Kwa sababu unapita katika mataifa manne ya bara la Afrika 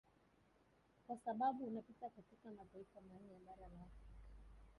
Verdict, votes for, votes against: rejected, 1, 2